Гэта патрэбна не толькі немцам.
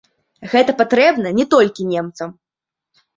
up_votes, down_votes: 0, 2